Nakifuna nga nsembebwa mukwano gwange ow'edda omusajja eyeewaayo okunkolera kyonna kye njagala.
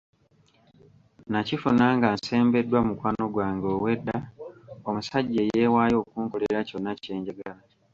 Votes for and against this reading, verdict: 0, 2, rejected